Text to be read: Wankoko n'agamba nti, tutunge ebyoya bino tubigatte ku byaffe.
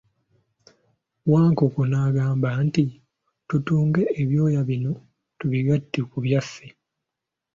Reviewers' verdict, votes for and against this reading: accepted, 2, 0